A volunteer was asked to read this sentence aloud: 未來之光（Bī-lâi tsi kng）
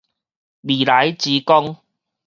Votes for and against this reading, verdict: 2, 2, rejected